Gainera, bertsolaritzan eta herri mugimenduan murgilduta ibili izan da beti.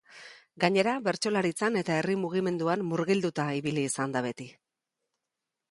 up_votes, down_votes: 2, 0